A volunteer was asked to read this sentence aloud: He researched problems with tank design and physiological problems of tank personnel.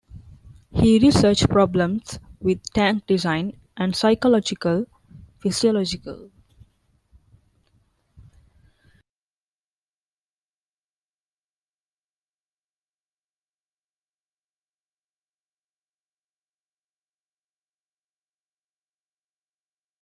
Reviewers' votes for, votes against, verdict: 0, 2, rejected